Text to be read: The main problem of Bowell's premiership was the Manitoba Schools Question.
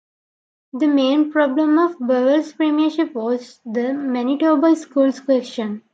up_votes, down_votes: 2, 1